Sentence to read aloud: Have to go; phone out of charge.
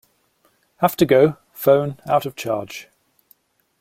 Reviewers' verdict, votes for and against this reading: accepted, 2, 0